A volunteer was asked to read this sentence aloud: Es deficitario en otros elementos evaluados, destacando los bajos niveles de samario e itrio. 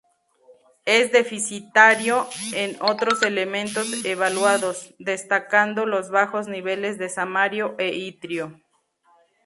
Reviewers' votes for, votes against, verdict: 0, 2, rejected